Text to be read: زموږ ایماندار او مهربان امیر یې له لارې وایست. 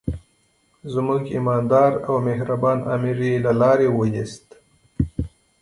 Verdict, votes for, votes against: rejected, 1, 2